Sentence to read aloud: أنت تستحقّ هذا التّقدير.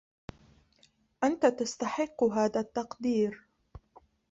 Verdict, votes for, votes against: rejected, 1, 2